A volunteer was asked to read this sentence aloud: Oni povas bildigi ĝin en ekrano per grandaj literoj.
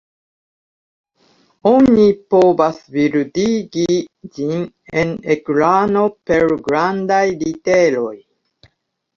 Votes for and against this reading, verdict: 2, 1, accepted